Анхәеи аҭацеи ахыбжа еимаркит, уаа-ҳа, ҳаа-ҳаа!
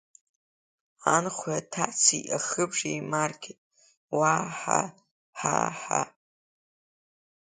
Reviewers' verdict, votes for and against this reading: accepted, 2, 1